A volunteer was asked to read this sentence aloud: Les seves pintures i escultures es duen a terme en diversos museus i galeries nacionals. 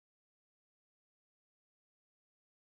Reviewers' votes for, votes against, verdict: 0, 2, rejected